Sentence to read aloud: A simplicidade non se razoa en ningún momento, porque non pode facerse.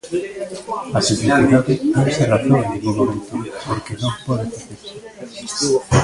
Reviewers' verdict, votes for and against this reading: rejected, 0, 2